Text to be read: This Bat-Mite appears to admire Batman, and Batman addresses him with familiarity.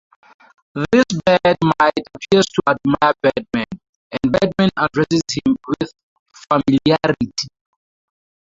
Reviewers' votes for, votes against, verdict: 0, 2, rejected